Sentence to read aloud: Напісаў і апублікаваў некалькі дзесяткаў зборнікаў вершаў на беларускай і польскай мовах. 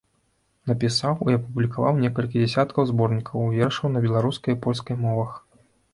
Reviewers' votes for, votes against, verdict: 2, 0, accepted